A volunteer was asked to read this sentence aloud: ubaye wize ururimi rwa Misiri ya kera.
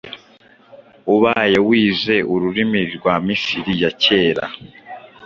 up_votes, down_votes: 2, 0